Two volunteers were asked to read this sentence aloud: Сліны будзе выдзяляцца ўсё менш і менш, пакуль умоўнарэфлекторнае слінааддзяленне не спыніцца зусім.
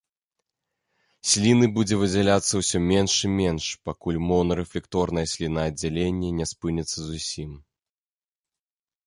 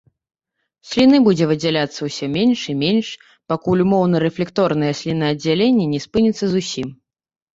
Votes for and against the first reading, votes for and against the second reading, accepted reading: 2, 0, 1, 2, first